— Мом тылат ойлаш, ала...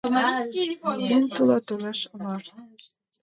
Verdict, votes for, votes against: rejected, 0, 2